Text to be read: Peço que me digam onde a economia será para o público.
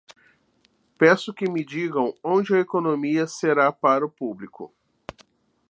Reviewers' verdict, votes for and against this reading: accepted, 2, 0